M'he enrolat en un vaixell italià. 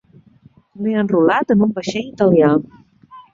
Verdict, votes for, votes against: rejected, 0, 2